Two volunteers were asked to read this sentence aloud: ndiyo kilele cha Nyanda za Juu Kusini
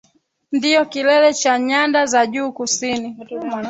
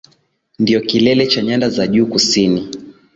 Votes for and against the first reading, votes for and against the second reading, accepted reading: 1, 3, 2, 1, second